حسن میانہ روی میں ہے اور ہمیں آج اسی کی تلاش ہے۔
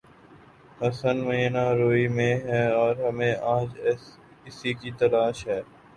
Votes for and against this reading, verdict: 0, 2, rejected